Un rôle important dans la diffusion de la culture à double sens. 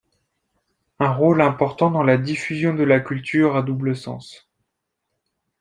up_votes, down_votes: 2, 0